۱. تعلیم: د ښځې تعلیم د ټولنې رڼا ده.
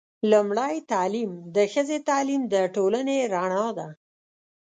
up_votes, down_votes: 0, 2